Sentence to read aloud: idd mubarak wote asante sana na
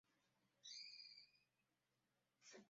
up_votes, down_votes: 0, 2